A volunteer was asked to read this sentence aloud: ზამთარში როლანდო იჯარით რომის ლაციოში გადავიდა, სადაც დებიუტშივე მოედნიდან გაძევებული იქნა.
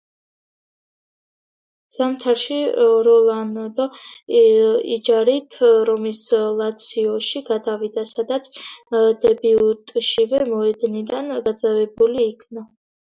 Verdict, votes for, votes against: rejected, 1, 2